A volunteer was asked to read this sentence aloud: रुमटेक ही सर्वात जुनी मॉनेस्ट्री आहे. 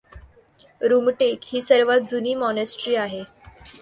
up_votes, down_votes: 2, 0